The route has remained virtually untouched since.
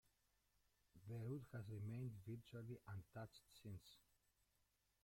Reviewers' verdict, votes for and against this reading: rejected, 0, 3